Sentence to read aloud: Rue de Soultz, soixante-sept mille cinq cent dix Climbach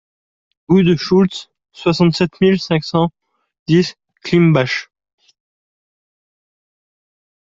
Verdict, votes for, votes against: rejected, 0, 2